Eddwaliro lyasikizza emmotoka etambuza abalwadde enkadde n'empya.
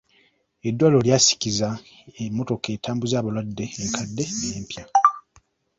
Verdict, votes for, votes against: accepted, 2, 0